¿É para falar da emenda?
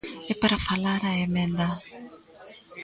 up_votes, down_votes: 0, 2